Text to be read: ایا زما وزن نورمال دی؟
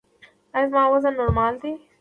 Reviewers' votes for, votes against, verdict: 2, 1, accepted